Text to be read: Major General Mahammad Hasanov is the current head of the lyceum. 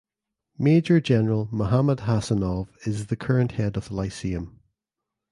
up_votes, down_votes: 2, 0